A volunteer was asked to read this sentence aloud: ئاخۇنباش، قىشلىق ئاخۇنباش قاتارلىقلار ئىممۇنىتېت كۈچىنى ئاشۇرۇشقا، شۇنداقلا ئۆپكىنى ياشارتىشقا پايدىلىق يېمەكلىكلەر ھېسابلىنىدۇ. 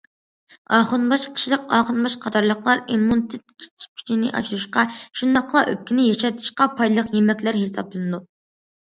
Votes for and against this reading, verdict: 0, 2, rejected